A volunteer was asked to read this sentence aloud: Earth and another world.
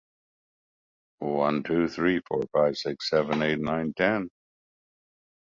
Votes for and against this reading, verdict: 0, 2, rejected